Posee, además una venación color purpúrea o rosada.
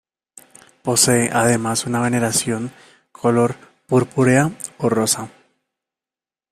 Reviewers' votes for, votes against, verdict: 0, 2, rejected